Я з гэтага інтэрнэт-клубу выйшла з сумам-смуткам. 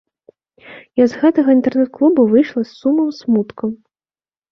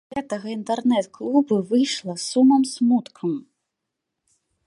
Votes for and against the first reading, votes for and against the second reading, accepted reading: 2, 0, 0, 2, first